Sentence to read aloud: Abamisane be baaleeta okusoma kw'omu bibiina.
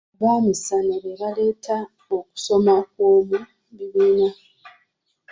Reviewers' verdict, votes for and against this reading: rejected, 1, 2